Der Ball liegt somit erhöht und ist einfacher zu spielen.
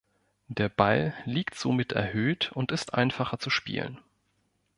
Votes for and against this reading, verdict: 2, 0, accepted